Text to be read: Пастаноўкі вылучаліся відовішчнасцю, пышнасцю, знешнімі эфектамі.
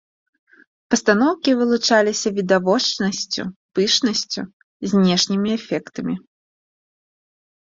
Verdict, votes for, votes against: rejected, 1, 2